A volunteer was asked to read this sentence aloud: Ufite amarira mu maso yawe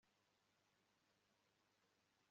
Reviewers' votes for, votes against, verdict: 2, 3, rejected